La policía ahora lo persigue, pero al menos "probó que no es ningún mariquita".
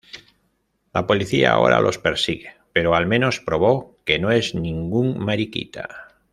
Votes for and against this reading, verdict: 1, 2, rejected